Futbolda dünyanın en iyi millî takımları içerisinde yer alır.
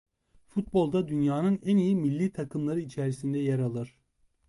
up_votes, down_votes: 2, 0